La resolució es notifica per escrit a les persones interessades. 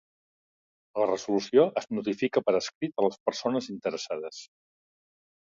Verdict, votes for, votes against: accepted, 2, 0